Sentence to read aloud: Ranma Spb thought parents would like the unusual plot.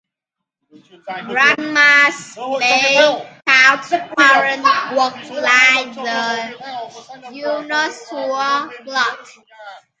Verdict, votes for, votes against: rejected, 0, 2